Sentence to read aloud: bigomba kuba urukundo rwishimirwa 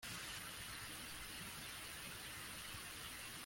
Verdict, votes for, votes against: rejected, 1, 3